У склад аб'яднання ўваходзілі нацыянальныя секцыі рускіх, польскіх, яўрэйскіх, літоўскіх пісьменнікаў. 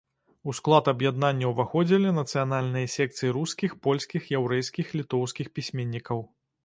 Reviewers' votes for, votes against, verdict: 2, 0, accepted